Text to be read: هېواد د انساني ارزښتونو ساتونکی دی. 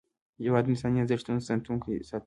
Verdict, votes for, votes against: rejected, 0, 2